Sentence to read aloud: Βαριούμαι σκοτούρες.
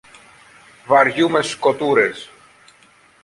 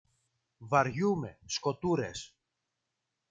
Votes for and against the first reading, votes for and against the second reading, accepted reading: 2, 0, 1, 2, first